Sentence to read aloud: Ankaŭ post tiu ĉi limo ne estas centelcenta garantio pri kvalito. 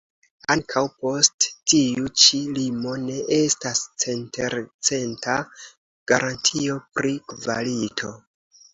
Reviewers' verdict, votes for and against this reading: accepted, 2, 1